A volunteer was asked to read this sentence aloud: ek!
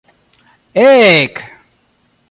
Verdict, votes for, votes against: rejected, 0, 2